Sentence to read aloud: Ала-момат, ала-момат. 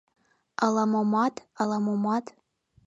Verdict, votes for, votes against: accepted, 2, 0